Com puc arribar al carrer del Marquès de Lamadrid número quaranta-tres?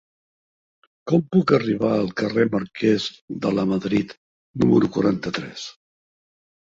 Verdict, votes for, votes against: rejected, 0, 2